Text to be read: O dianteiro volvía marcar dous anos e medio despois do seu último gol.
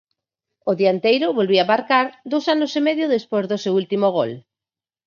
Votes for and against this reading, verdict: 0, 4, rejected